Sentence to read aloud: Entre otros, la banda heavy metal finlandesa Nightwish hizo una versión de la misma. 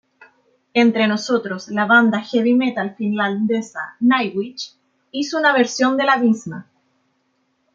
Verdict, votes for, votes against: rejected, 0, 2